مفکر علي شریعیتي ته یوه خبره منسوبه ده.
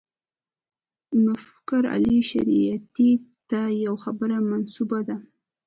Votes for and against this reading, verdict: 2, 0, accepted